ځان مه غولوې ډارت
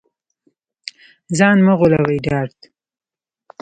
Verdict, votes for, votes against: rejected, 0, 2